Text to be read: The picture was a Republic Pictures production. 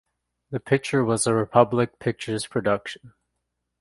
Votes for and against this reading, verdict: 2, 0, accepted